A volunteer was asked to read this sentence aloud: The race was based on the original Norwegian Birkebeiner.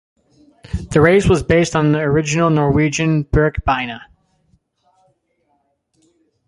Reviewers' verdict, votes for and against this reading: accepted, 2, 1